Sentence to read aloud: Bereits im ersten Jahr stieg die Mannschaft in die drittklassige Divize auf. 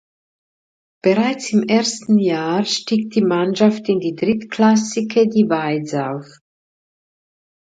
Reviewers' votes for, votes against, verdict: 1, 2, rejected